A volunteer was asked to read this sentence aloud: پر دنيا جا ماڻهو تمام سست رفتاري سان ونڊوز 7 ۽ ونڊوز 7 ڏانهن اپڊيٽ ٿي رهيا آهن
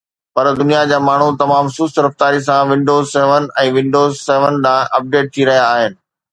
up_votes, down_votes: 0, 2